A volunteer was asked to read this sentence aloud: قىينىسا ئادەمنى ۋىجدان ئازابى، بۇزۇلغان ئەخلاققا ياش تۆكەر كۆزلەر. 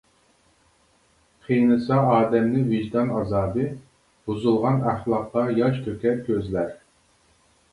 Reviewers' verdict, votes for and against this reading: rejected, 0, 2